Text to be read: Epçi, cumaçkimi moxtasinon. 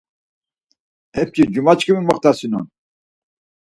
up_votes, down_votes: 4, 0